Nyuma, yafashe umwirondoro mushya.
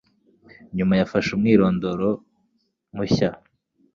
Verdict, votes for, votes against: accepted, 2, 0